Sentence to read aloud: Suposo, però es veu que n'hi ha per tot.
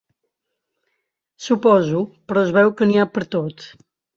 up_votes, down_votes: 1, 2